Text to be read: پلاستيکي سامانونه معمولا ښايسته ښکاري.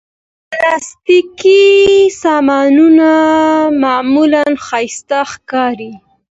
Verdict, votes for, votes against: accepted, 2, 1